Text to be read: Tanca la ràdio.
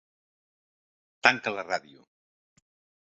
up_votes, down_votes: 3, 0